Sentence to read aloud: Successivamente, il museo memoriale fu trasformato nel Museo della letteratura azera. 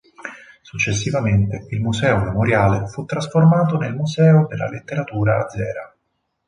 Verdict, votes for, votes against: accepted, 4, 0